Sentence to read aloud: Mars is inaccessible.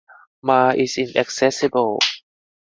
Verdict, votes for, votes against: rejected, 2, 2